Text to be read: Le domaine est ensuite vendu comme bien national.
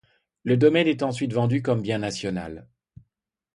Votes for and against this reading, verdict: 2, 0, accepted